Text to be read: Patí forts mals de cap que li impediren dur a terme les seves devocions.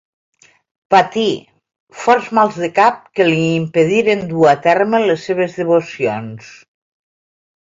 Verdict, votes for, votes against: accepted, 2, 0